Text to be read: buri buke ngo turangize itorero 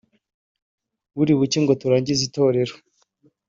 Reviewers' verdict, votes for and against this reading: accepted, 2, 0